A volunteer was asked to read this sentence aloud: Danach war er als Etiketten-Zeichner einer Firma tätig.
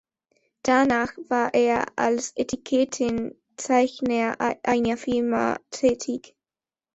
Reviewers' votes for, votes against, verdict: 0, 2, rejected